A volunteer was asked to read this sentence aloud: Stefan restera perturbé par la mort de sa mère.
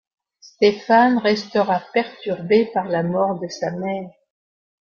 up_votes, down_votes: 0, 2